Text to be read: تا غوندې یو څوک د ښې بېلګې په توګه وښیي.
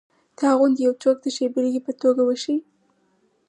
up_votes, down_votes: 4, 0